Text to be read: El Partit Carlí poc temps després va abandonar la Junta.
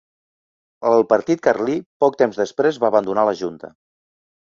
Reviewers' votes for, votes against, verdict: 4, 0, accepted